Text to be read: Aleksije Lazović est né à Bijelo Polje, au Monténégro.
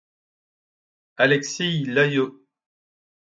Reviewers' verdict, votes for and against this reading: rejected, 1, 2